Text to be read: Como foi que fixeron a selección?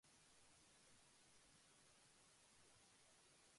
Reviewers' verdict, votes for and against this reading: rejected, 0, 2